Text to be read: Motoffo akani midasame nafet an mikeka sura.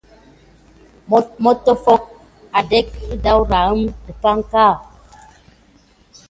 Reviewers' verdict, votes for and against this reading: rejected, 1, 3